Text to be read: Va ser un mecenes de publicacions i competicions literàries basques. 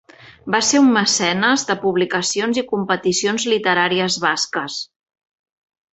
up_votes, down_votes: 2, 0